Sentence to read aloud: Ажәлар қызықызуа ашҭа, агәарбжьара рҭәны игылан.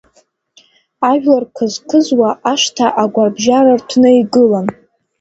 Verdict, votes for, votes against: accepted, 2, 0